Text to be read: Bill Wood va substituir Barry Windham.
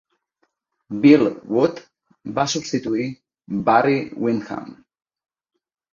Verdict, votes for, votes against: accepted, 2, 0